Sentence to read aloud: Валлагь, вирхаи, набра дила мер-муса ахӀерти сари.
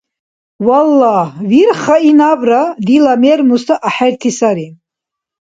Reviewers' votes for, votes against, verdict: 2, 0, accepted